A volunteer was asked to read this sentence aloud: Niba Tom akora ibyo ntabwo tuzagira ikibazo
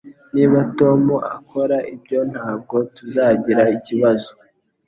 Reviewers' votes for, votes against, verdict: 2, 0, accepted